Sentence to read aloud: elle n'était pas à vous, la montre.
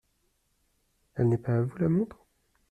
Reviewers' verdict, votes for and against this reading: rejected, 0, 2